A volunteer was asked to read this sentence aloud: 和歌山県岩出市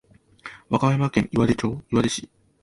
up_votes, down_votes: 0, 2